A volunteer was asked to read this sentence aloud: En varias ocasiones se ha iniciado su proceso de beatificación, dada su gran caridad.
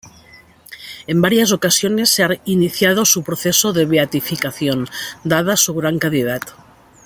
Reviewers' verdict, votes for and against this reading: rejected, 0, 2